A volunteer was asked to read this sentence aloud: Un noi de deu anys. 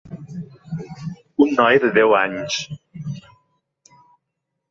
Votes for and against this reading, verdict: 2, 1, accepted